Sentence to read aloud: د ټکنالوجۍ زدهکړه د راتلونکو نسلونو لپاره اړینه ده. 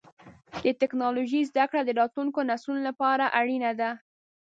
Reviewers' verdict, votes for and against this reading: accepted, 2, 0